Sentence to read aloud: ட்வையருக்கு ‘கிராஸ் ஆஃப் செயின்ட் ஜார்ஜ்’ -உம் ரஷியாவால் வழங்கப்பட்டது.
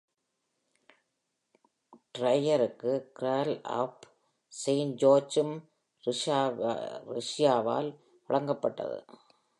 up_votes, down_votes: 0, 2